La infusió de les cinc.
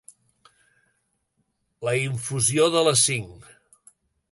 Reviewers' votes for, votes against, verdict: 4, 0, accepted